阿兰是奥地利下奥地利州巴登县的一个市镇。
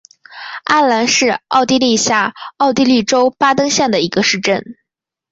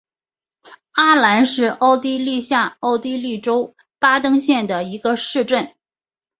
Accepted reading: first